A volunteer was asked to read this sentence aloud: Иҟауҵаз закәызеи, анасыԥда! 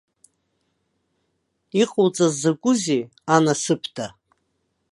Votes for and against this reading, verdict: 2, 0, accepted